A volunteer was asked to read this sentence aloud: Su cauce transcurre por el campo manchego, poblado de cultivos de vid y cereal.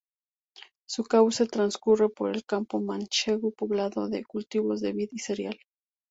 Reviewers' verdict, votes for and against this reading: rejected, 0, 2